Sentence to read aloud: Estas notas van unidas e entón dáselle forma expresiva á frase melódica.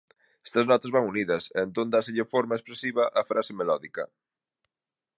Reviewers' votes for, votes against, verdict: 2, 1, accepted